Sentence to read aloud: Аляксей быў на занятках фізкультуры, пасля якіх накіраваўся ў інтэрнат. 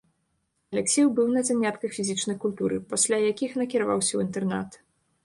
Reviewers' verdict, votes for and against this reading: rejected, 0, 2